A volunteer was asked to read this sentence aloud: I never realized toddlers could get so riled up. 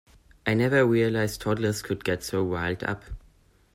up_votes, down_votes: 2, 1